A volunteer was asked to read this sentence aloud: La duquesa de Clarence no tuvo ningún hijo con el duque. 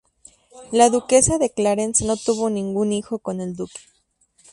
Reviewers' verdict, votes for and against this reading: accepted, 2, 0